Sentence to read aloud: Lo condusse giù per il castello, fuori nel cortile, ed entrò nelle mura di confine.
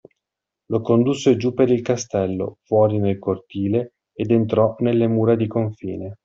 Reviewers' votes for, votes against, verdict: 2, 0, accepted